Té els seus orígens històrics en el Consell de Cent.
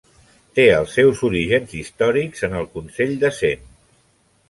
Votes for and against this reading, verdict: 3, 0, accepted